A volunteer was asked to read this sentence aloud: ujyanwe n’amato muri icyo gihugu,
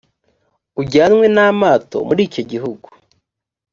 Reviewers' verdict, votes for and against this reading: accepted, 2, 0